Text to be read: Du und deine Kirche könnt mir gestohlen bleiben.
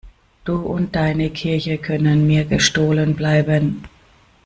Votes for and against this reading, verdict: 0, 2, rejected